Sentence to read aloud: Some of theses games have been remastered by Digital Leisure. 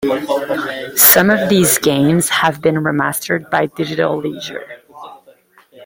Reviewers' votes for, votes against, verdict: 2, 1, accepted